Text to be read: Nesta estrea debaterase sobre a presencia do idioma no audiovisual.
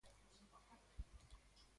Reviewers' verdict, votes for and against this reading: rejected, 0, 2